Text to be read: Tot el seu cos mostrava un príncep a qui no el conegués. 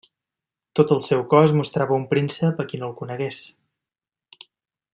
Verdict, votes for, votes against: accepted, 3, 0